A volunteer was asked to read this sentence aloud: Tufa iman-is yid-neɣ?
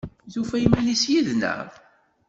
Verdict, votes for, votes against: accepted, 2, 0